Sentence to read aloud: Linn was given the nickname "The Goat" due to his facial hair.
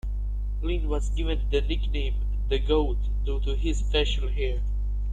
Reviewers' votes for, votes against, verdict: 2, 1, accepted